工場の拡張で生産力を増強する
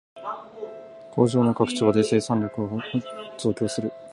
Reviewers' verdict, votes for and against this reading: rejected, 0, 2